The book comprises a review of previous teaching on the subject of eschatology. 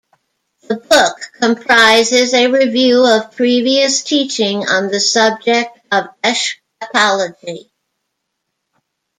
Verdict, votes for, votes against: rejected, 1, 2